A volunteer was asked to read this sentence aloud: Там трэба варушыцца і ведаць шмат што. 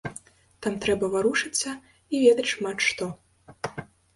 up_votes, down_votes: 1, 2